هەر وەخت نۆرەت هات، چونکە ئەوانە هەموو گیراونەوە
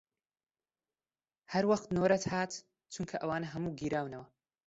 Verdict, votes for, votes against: accepted, 2, 1